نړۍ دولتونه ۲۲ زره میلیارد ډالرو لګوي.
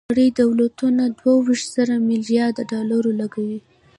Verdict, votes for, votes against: rejected, 0, 2